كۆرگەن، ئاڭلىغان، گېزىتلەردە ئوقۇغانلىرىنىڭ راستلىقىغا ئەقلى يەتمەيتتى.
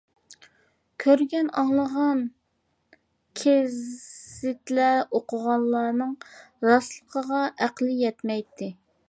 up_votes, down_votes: 0, 2